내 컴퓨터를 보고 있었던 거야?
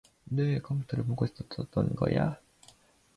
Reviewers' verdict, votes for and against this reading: rejected, 1, 2